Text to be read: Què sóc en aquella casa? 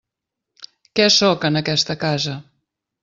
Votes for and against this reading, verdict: 0, 2, rejected